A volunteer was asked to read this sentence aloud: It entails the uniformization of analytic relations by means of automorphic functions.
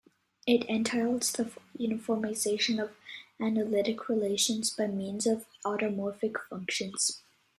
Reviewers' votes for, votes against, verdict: 2, 0, accepted